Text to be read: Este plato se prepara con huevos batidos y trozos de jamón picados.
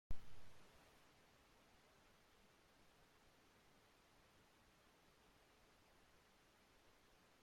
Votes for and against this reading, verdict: 0, 2, rejected